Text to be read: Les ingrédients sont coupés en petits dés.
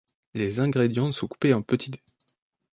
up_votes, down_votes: 2, 0